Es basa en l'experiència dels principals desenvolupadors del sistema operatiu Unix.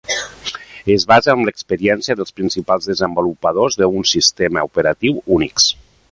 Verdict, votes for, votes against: rejected, 1, 2